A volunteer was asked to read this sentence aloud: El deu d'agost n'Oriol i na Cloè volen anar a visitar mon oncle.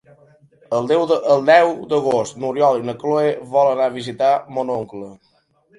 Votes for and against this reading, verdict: 0, 2, rejected